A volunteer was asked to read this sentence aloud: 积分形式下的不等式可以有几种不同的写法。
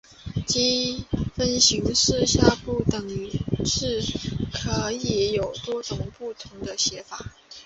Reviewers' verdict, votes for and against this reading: accepted, 2, 0